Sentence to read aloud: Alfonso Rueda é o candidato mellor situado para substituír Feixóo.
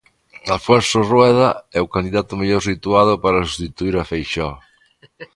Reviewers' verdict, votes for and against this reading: rejected, 1, 2